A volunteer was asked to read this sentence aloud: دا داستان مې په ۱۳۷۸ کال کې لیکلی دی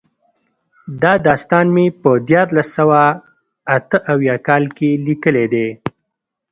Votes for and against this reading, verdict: 0, 2, rejected